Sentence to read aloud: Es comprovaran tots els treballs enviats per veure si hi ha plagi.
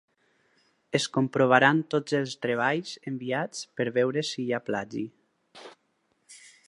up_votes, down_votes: 4, 0